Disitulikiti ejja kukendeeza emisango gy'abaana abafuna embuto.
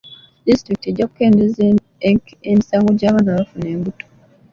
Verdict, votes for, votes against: accepted, 3, 0